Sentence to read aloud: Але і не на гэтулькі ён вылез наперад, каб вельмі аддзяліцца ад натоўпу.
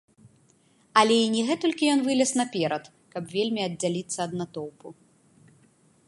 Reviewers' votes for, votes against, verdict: 2, 0, accepted